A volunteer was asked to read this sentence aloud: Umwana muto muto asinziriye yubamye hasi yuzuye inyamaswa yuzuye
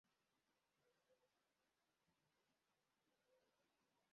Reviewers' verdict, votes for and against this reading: rejected, 0, 2